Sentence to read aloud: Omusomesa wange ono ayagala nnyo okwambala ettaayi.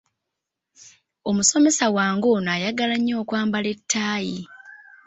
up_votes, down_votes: 2, 0